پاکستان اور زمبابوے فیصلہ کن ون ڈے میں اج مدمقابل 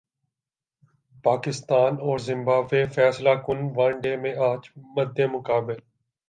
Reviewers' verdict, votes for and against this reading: accepted, 2, 1